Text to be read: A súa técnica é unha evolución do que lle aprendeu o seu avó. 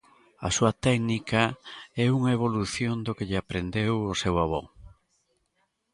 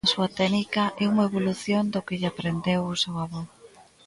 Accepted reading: first